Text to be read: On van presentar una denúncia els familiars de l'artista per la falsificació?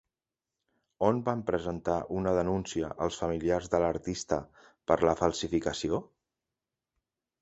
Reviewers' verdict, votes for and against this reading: accepted, 2, 0